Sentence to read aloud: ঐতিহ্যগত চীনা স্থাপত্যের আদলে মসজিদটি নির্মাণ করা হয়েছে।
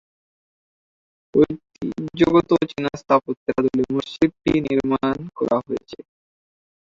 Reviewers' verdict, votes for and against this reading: rejected, 1, 4